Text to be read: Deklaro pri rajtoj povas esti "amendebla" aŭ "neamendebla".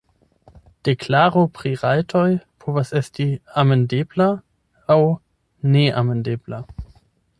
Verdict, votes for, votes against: rejected, 4, 8